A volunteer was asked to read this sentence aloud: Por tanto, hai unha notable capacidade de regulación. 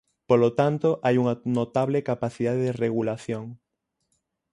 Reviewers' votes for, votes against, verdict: 3, 6, rejected